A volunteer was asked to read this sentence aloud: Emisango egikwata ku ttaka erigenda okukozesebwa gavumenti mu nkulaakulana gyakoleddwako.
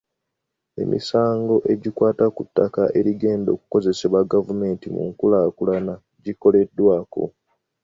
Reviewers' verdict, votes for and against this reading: accepted, 2, 0